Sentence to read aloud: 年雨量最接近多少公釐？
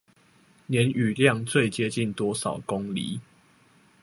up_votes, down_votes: 2, 0